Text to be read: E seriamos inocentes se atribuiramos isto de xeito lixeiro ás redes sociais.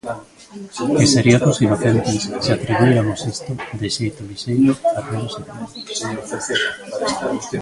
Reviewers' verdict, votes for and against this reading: rejected, 0, 3